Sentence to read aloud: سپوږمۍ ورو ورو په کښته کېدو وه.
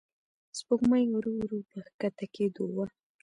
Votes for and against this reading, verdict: 2, 0, accepted